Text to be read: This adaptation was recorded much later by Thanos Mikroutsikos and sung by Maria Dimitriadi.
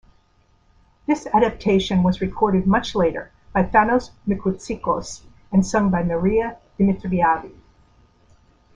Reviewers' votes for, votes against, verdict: 2, 1, accepted